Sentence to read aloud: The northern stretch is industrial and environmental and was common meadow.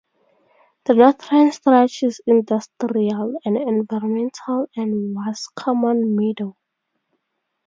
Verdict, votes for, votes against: rejected, 2, 4